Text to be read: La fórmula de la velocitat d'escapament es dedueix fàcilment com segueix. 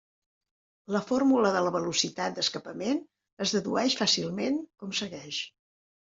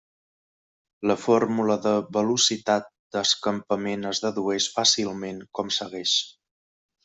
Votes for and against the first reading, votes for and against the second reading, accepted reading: 4, 0, 1, 2, first